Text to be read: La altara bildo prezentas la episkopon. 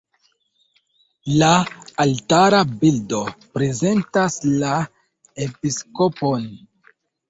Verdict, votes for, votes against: accepted, 2, 0